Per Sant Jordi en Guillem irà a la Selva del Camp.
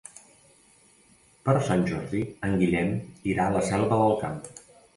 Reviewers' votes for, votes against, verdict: 2, 0, accepted